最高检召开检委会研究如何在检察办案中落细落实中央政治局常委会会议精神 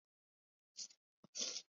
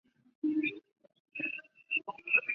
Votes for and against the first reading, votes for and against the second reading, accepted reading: 0, 2, 3, 2, second